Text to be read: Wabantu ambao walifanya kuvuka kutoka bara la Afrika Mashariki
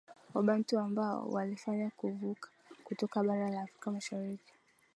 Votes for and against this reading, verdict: 2, 0, accepted